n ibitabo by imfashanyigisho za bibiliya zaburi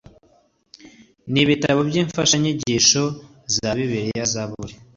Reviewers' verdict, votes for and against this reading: accepted, 2, 0